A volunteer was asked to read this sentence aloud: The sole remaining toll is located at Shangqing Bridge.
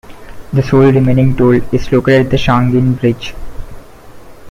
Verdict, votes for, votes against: rejected, 1, 2